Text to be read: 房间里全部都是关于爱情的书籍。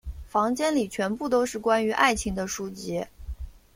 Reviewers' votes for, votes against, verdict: 2, 0, accepted